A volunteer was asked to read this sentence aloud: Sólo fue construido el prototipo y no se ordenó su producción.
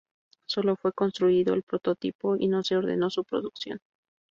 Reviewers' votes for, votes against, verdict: 2, 0, accepted